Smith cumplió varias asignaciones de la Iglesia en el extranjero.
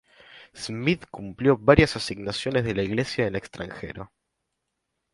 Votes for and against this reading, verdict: 0, 2, rejected